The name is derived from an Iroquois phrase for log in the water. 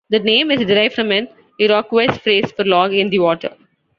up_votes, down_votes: 2, 1